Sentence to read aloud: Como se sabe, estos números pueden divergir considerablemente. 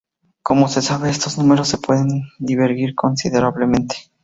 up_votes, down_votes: 0, 2